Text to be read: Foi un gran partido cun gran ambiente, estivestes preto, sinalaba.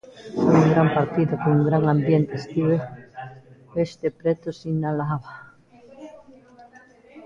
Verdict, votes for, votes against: rejected, 0, 3